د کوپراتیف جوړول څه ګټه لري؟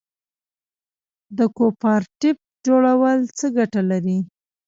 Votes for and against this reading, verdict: 2, 0, accepted